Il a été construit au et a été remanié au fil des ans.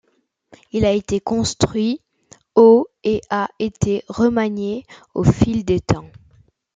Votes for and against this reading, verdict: 0, 2, rejected